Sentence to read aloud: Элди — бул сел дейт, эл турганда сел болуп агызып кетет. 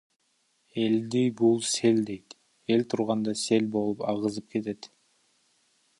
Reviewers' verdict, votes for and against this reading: rejected, 0, 2